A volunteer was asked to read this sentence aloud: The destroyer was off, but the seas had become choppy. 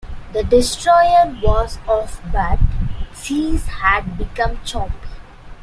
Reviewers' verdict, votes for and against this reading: rejected, 0, 2